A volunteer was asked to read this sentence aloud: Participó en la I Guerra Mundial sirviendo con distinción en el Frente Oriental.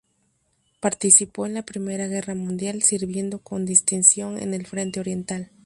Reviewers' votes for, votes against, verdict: 2, 0, accepted